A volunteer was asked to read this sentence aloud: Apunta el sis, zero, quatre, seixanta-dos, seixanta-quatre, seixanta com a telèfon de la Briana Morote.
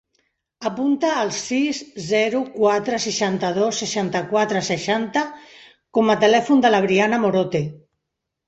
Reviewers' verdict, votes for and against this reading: accepted, 2, 0